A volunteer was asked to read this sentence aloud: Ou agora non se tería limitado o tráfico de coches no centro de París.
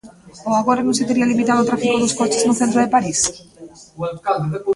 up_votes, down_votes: 0, 2